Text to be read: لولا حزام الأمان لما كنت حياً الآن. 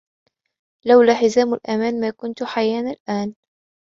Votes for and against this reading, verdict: 2, 0, accepted